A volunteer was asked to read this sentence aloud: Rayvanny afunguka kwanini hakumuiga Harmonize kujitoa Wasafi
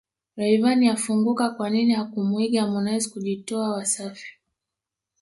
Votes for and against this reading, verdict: 1, 2, rejected